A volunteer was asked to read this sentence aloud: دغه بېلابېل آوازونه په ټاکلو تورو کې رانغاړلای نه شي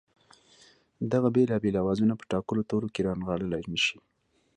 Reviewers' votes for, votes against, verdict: 2, 0, accepted